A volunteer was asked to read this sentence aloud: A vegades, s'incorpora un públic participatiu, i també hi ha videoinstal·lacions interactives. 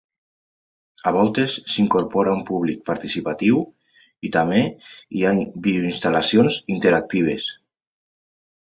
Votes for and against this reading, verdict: 0, 2, rejected